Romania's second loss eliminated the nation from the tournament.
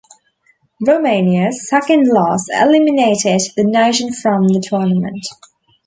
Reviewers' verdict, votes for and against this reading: accepted, 2, 0